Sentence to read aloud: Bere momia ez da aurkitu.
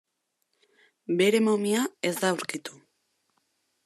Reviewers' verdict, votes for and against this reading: accepted, 2, 0